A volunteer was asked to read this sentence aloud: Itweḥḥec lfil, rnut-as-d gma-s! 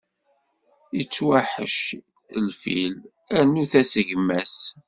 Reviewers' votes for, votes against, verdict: 1, 2, rejected